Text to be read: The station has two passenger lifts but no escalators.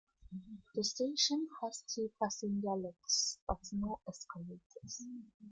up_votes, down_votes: 2, 1